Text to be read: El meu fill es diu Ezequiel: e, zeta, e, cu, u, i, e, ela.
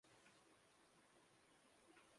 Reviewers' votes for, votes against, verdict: 0, 2, rejected